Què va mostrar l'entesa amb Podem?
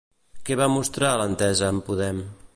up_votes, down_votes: 2, 0